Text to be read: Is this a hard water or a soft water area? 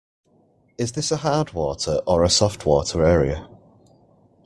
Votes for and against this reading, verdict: 2, 0, accepted